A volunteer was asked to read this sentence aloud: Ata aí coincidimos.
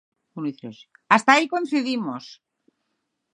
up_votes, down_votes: 0, 6